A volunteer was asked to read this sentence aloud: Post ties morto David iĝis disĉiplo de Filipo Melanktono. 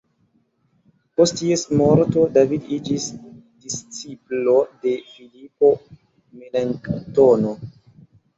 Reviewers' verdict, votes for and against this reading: accepted, 2, 1